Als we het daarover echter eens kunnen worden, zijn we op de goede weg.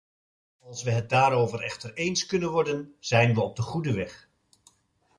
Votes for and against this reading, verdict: 1, 2, rejected